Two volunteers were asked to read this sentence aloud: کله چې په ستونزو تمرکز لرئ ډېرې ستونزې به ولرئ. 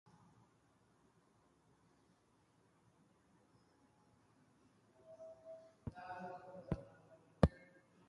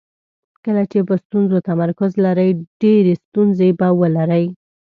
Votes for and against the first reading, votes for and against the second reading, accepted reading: 0, 2, 2, 0, second